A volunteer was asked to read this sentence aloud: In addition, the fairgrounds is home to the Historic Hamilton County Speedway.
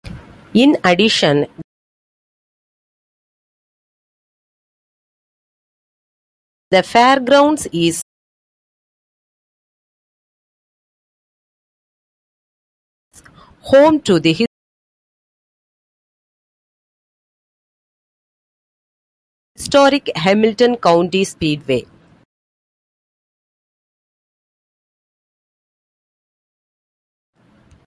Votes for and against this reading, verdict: 0, 2, rejected